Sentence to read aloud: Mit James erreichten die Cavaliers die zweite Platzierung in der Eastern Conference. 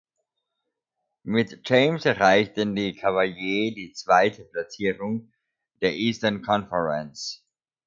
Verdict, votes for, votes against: rejected, 0, 2